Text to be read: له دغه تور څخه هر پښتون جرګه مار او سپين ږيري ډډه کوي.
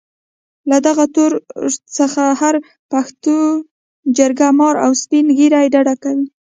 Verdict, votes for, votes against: accepted, 2, 0